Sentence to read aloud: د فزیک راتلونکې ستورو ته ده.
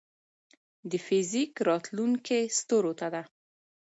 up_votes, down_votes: 2, 0